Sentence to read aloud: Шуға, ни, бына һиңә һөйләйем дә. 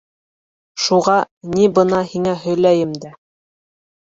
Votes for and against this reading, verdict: 2, 0, accepted